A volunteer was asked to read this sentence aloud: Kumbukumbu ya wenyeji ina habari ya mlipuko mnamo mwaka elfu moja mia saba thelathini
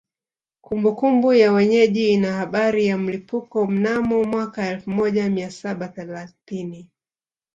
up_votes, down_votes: 0, 2